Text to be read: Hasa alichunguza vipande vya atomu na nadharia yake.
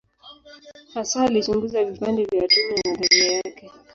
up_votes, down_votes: 0, 2